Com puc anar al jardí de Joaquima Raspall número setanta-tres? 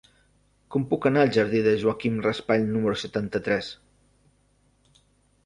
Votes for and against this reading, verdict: 0, 2, rejected